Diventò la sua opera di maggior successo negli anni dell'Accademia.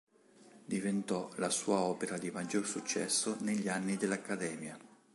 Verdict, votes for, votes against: accepted, 2, 0